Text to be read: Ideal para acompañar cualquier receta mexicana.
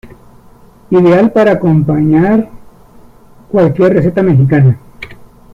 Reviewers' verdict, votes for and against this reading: rejected, 1, 2